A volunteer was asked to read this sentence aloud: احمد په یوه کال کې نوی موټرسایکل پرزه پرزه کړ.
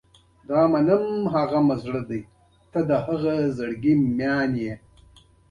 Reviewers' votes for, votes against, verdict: 2, 0, accepted